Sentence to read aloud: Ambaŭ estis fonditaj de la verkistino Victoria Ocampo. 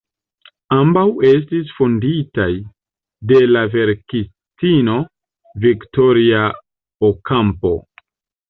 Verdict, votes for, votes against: accepted, 2, 1